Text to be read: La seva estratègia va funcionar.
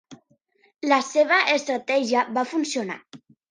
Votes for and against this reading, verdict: 3, 0, accepted